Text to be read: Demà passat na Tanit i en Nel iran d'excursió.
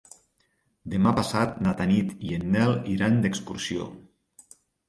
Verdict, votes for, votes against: accepted, 3, 0